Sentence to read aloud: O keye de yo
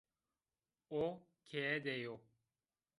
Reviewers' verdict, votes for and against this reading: accepted, 2, 1